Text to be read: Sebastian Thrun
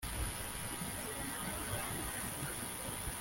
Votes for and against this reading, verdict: 0, 2, rejected